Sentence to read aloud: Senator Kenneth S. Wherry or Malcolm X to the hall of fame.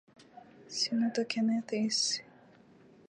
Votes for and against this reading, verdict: 2, 2, rejected